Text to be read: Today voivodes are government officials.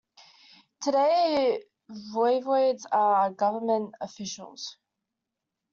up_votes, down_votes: 2, 0